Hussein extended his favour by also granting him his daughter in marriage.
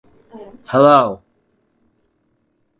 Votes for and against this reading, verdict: 0, 2, rejected